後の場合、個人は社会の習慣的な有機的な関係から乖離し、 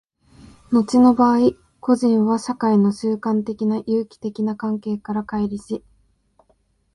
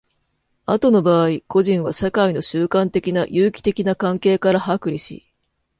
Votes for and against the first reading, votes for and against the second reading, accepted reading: 2, 1, 2, 3, first